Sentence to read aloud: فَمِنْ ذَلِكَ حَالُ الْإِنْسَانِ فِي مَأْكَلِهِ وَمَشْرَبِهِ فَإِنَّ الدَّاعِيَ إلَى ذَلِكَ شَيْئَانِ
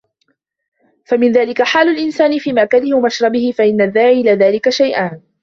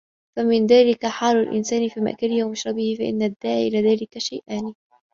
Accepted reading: second